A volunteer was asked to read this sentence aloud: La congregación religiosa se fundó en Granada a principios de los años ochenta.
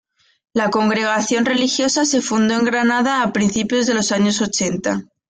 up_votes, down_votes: 2, 0